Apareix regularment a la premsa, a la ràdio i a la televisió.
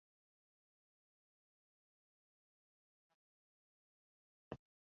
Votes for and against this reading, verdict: 0, 2, rejected